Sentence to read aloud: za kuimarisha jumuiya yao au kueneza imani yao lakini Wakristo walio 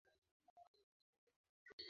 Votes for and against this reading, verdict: 1, 2, rejected